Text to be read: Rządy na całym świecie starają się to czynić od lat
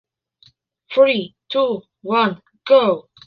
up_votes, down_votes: 0, 2